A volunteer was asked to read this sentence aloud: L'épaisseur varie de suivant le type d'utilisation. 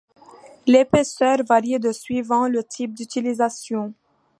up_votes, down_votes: 2, 1